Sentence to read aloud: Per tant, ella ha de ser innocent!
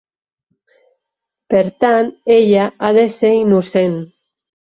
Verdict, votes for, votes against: accepted, 3, 0